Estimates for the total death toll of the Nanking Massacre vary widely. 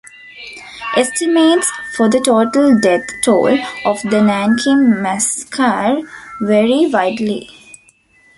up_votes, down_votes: 2, 1